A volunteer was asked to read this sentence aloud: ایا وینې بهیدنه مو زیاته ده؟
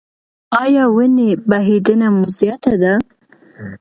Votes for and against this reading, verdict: 2, 0, accepted